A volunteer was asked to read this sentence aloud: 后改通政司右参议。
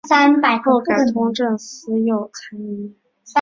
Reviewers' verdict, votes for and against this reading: rejected, 0, 2